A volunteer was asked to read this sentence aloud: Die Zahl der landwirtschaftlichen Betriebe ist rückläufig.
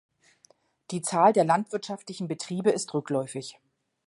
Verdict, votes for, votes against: accepted, 2, 0